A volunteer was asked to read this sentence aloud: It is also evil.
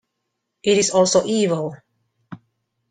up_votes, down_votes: 2, 0